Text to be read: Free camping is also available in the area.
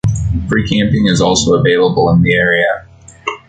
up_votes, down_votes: 2, 0